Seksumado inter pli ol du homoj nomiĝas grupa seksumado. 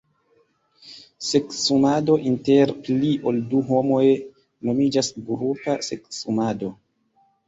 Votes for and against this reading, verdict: 0, 2, rejected